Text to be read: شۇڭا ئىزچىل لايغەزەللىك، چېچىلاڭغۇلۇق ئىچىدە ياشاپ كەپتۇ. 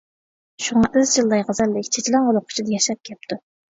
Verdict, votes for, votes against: rejected, 0, 2